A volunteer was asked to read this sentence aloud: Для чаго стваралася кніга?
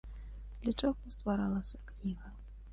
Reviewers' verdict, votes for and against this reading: rejected, 1, 2